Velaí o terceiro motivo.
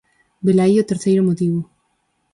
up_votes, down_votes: 4, 0